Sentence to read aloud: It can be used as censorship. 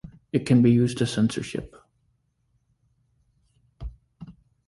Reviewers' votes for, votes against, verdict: 2, 0, accepted